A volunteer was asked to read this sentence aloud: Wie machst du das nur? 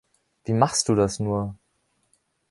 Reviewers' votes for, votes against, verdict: 2, 0, accepted